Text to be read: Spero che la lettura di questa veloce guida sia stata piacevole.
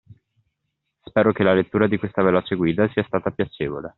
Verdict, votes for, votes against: accepted, 2, 0